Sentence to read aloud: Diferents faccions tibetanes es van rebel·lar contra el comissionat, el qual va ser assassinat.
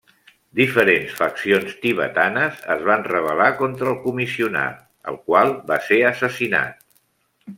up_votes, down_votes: 2, 0